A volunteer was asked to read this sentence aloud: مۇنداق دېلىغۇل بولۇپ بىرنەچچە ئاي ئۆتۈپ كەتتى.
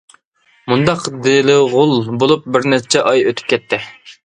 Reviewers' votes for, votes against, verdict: 2, 1, accepted